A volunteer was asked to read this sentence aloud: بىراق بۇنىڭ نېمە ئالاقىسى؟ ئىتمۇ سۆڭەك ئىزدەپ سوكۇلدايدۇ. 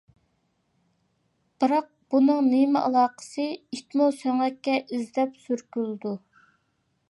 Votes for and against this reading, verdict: 0, 2, rejected